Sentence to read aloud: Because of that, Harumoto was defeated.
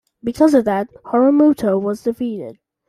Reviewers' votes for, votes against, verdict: 2, 0, accepted